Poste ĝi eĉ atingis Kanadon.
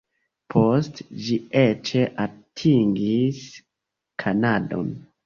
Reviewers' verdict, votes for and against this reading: rejected, 1, 2